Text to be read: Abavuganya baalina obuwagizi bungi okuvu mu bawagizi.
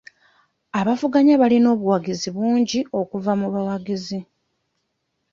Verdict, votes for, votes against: rejected, 1, 2